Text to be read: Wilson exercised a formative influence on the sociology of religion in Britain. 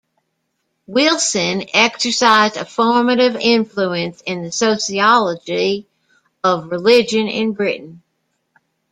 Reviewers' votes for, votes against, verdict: 1, 2, rejected